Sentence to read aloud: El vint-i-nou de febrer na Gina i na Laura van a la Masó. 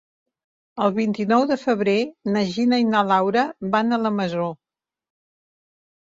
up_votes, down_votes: 3, 0